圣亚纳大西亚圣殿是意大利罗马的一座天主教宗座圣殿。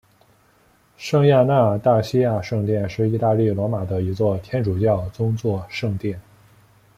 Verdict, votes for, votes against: accepted, 2, 1